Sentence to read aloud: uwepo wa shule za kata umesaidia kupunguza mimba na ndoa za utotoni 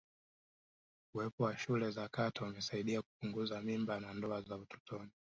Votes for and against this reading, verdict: 1, 2, rejected